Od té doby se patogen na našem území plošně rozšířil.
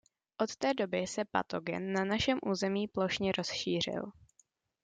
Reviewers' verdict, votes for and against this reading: accepted, 2, 0